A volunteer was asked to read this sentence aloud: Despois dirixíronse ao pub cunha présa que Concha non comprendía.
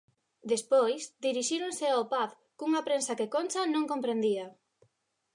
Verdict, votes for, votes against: rejected, 1, 2